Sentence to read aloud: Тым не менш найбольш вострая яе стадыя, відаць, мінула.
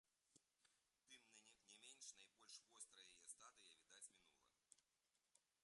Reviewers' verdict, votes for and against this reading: rejected, 0, 2